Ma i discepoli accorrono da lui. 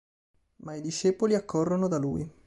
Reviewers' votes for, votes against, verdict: 3, 0, accepted